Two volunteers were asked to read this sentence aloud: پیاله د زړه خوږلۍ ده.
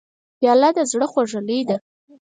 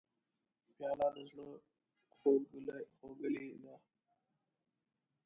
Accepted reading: first